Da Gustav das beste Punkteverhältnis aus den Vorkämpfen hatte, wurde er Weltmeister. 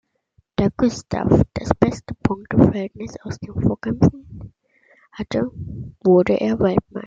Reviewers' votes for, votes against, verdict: 0, 2, rejected